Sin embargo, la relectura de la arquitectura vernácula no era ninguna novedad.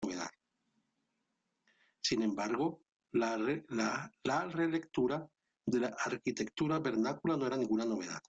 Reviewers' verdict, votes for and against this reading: rejected, 0, 2